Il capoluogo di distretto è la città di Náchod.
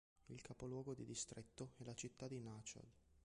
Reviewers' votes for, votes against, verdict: 2, 1, accepted